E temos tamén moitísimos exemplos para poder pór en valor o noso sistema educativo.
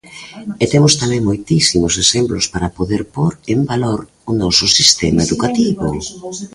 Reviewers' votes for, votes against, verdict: 0, 2, rejected